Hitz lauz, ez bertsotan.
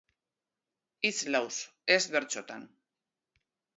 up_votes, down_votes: 2, 0